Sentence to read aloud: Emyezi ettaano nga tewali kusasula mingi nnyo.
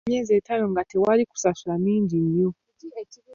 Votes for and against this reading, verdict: 2, 0, accepted